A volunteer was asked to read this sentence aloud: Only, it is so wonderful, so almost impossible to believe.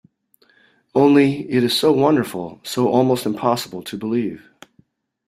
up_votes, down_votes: 2, 0